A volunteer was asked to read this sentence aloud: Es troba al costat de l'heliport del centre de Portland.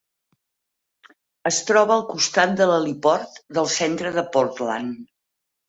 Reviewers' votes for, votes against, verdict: 4, 0, accepted